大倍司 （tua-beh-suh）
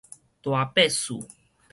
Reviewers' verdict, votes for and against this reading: rejected, 2, 4